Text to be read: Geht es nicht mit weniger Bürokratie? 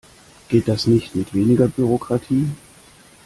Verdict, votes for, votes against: rejected, 1, 2